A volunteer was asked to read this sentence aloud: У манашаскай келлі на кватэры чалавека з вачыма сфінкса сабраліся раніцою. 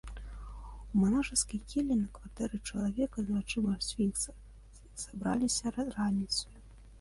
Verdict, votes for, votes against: rejected, 0, 2